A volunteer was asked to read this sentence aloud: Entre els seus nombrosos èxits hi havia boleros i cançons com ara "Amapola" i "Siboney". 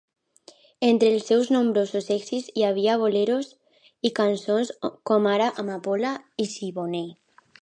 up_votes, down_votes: 2, 0